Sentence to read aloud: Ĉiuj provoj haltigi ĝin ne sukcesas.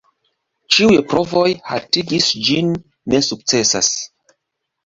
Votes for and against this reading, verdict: 0, 2, rejected